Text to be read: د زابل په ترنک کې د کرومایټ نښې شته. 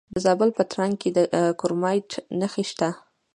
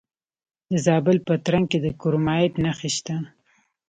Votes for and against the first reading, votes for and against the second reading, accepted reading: 0, 2, 2, 0, second